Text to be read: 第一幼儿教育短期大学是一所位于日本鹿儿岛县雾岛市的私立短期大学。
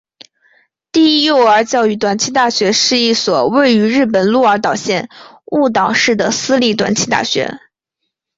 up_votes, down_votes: 2, 0